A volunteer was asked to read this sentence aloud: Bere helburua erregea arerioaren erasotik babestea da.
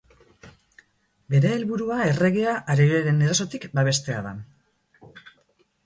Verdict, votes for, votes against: rejected, 2, 2